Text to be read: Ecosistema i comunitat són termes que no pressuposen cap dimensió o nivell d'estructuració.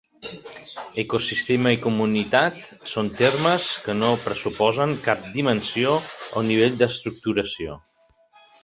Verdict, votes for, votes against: accepted, 3, 1